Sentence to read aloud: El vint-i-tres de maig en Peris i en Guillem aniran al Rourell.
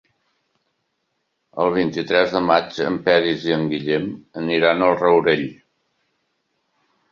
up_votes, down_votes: 3, 0